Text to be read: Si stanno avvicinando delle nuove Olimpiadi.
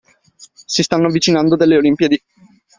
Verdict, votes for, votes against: rejected, 1, 2